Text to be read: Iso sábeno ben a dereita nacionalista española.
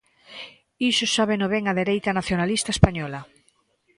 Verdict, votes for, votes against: accepted, 2, 0